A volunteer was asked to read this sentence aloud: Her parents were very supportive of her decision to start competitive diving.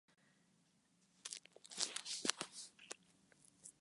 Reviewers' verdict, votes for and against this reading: rejected, 0, 4